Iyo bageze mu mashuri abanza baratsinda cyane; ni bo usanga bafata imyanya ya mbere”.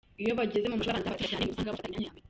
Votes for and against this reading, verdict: 0, 2, rejected